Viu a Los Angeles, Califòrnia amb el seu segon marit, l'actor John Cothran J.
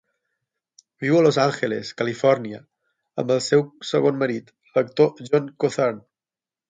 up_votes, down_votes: 6, 0